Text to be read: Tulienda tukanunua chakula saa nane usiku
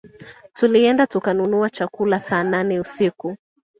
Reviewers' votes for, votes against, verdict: 2, 0, accepted